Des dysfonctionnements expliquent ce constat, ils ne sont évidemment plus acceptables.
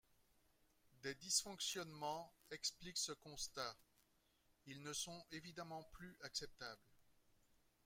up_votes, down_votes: 0, 2